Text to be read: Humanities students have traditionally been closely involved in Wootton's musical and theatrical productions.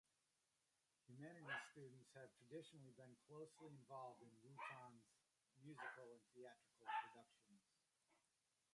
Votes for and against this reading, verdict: 0, 2, rejected